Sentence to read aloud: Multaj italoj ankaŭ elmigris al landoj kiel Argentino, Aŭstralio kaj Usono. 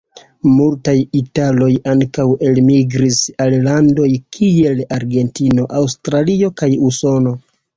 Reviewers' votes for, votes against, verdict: 1, 2, rejected